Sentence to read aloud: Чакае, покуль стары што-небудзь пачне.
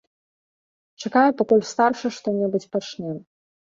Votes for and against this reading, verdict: 2, 3, rejected